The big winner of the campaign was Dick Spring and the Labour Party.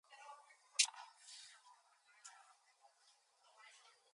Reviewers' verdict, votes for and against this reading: rejected, 0, 2